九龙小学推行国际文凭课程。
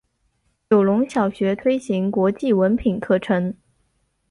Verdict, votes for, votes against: accepted, 4, 0